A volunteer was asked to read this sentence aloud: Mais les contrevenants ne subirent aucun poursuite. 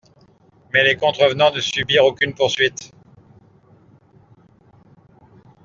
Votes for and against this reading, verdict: 0, 2, rejected